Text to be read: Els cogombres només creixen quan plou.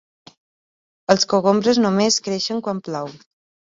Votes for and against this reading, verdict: 2, 0, accepted